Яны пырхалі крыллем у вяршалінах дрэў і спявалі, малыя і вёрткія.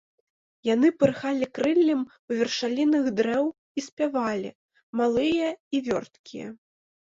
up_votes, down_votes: 2, 0